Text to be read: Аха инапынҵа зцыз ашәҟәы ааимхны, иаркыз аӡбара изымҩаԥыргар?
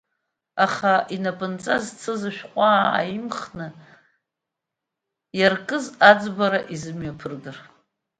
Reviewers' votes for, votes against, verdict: 1, 2, rejected